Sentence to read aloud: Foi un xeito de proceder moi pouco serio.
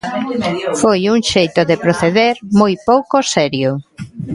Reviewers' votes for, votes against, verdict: 2, 0, accepted